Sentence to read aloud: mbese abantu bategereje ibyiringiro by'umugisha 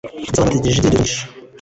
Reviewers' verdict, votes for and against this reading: rejected, 2, 3